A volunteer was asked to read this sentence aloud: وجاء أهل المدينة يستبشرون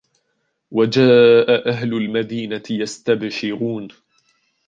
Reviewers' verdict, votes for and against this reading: accepted, 2, 0